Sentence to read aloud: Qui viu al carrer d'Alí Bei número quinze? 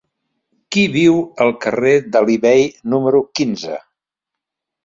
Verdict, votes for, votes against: accepted, 2, 0